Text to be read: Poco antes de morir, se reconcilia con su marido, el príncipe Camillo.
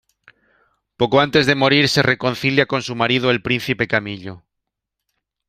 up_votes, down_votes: 2, 0